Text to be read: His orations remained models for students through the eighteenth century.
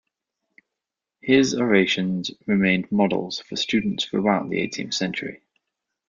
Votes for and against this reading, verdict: 1, 2, rejected